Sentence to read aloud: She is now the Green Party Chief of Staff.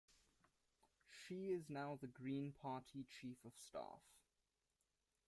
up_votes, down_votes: 2, 0